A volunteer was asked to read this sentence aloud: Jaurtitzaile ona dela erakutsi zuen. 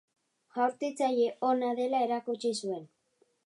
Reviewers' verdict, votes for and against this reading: accepted, 2, 0